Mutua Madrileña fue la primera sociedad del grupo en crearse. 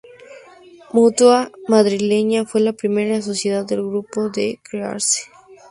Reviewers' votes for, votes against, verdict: 2, 0, accepted